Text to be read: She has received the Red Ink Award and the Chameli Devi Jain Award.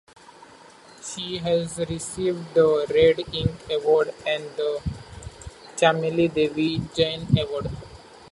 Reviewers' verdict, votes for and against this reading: rejected, 0, 2